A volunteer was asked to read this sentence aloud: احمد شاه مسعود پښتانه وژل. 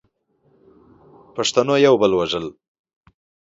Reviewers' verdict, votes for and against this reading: rejected, 0, 2